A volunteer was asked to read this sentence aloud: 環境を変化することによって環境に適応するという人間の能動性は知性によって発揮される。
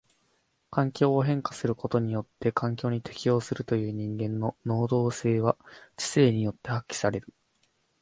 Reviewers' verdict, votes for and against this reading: accepted, 4, 0